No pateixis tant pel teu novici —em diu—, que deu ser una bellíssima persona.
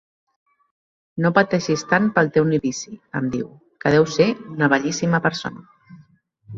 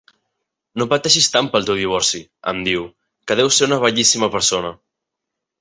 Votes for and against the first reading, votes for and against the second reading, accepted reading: 2, 1, 0, 2, first